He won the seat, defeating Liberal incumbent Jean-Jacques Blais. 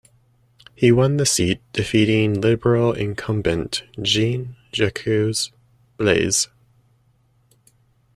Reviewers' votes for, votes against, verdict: 0, 2, rejected